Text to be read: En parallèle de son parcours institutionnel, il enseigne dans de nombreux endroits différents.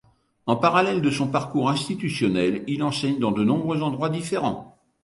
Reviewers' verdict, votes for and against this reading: accepted, 2, 0